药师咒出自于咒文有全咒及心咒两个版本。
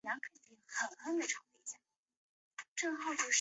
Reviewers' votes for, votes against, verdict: 1, 2, rejected